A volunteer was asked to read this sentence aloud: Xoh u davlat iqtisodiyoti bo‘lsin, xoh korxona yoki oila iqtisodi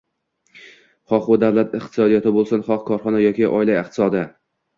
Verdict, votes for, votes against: accepted, 2, 0